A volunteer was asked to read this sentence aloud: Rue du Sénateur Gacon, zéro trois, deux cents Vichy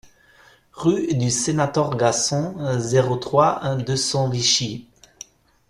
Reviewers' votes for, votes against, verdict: 0, 2, rejected